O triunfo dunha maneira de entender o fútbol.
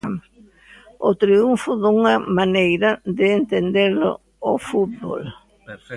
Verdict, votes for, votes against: rejected, 1, 2